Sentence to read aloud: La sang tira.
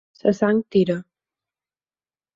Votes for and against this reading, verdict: 4, 6, rejected